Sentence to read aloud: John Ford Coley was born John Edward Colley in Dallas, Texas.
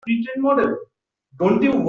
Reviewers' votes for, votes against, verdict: 0, 2, rejected